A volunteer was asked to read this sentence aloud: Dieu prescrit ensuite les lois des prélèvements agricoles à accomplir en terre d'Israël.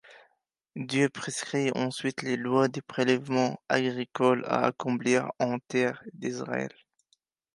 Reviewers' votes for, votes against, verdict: 3, 0, accepted